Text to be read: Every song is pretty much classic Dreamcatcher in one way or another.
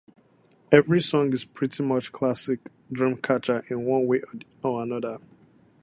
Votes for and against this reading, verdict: 0, 4, rejected